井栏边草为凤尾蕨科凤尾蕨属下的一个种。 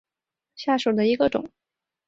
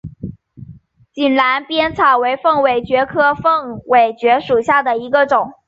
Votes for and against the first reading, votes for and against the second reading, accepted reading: 0, 2, 3, 1, second